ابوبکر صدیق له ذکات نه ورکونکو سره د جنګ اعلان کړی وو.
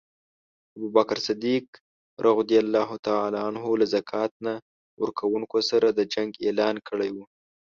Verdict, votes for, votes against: rejected, 1, 2